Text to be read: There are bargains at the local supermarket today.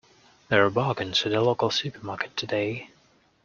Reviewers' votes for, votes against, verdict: 0, 2, rejected